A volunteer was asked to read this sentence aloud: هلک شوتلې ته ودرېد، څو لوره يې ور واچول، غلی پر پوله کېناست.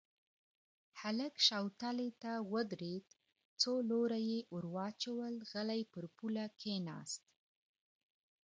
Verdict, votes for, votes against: accepted, 2, 0